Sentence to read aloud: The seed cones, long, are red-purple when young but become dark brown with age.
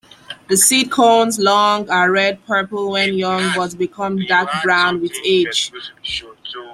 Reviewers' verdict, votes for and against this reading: rejected, 1, 2